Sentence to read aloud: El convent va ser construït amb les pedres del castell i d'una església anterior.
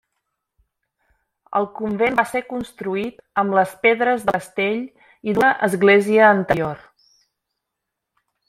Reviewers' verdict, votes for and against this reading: rejected, 0, 2